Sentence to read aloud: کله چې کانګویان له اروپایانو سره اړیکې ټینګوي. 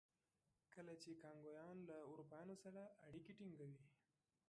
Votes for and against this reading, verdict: 0, 2, rejected